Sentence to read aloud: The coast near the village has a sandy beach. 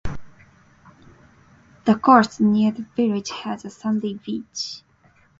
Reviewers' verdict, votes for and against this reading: accepted, 4, 0